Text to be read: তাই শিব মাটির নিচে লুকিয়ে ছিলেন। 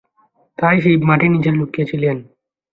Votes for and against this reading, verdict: 0, 2, rejected